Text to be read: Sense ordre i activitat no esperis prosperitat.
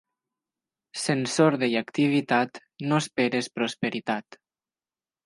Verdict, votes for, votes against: rejected, 1, 2